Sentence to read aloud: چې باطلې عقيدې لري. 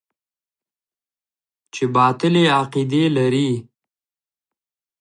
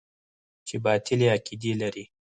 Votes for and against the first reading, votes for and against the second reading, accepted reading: 2, 0, 2, 4, first